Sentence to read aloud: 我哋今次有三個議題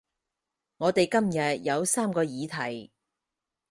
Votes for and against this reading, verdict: 2, 4, rejected